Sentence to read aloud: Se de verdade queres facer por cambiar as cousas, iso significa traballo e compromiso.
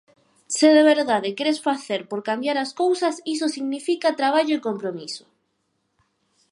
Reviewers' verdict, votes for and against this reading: accepted, 4, 0